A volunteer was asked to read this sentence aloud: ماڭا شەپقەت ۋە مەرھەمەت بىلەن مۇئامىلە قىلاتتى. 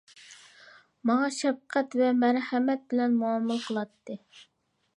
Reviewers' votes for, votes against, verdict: 2, 0, accepted